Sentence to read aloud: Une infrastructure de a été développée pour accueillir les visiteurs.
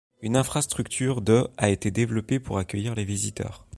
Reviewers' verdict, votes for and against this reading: accepted, 2, 0